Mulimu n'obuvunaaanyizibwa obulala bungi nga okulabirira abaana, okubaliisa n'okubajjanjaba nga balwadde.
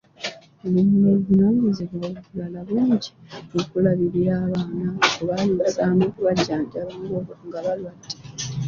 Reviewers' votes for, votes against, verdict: 0, 2, rejected